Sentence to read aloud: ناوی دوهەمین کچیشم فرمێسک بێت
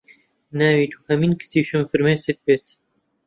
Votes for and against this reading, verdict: 2, 0, accepted